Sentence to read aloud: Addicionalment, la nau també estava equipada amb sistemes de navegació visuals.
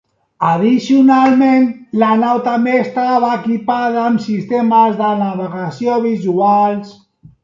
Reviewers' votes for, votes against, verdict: 1, 2, rejected